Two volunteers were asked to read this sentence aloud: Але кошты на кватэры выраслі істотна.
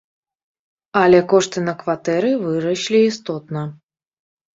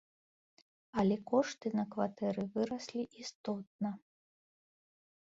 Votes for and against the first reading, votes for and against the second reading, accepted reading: 0, 2, 3, 0, second